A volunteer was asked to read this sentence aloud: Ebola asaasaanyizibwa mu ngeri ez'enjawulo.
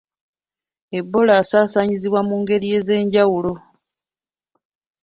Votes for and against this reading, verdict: 2, 0, accepted